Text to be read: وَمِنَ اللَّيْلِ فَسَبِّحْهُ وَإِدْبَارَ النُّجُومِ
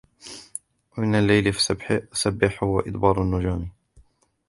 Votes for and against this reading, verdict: 1, 2, rejected